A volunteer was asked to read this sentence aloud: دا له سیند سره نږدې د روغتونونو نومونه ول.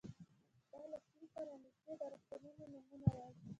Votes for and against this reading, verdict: 0, 2, rejected